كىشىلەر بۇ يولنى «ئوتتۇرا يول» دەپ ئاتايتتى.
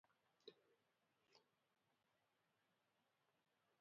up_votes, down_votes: 0, 2